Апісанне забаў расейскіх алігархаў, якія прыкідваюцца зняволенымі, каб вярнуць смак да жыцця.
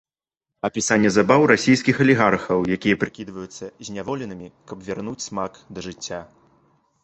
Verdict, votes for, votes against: accepted, 2, 0